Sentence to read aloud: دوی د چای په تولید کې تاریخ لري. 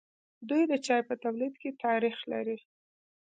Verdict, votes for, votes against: rejected, 1, 2